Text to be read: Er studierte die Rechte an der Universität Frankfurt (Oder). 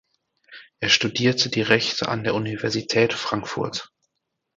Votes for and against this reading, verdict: 0, 4, rejected